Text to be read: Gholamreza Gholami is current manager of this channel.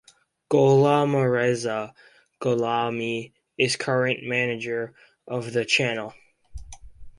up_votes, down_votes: 0, 2